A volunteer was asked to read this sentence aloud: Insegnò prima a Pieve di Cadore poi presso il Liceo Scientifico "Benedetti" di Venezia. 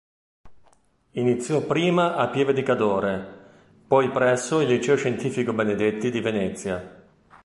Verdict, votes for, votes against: rejected, 0, 2